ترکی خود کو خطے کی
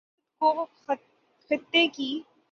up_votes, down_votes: 3, 6